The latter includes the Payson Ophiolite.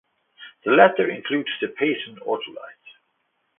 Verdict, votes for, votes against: accepted, 2, 0